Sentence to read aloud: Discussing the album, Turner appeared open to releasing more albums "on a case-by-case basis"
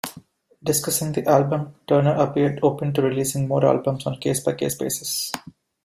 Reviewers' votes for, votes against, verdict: 2, 1, accepted